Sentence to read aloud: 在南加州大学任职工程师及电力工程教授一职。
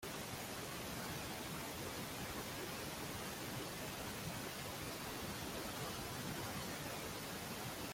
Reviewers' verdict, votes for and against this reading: rejected, 0, 2